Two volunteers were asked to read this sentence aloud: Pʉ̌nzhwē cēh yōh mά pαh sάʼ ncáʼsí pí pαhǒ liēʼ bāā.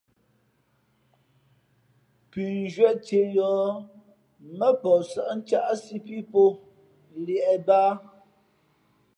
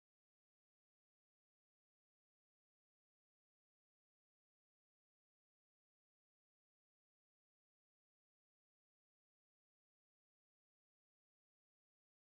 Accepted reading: first